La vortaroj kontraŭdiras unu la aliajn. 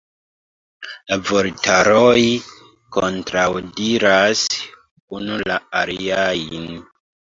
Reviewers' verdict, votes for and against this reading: rejected, 0, 2